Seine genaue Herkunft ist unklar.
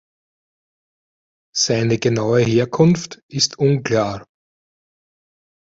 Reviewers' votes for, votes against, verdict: 2, 0, accepted